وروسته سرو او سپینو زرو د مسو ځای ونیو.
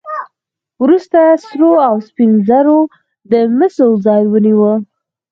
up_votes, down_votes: 4, 0